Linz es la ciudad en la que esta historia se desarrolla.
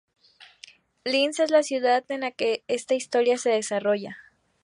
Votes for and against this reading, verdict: 2, 0, accepted